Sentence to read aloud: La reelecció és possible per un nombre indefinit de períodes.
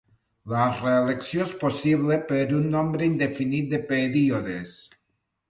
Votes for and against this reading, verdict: 2, 0, accepted